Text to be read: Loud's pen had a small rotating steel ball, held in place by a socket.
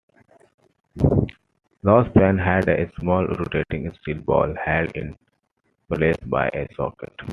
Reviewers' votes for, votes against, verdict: 2, 1, accepted